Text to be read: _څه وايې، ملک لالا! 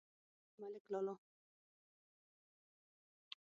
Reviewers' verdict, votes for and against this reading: rejected, 3, 6